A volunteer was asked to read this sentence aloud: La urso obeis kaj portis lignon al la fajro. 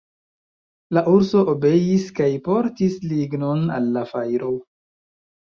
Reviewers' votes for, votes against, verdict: 2, 1, accepted